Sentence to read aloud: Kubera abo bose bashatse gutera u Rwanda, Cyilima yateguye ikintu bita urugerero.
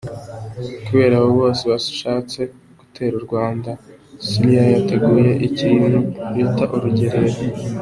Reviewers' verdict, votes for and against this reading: accepted, 2, 1